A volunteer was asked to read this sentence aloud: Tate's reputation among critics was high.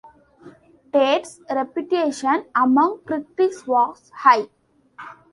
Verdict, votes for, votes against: rejected, 1, 2